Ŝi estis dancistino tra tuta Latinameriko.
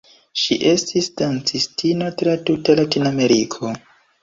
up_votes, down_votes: 3, 1